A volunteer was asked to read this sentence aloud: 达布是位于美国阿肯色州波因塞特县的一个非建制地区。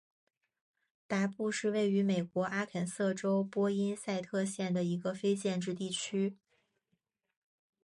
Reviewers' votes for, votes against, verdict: 3, 1, accepted